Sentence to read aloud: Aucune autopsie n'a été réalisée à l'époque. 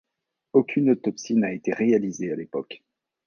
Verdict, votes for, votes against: accepted, 2, 1